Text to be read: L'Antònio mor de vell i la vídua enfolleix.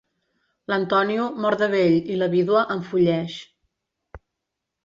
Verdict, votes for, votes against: accepted, 2, 1